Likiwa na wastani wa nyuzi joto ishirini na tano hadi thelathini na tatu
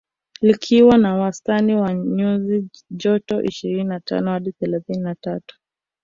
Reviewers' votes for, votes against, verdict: 2, 0, accepted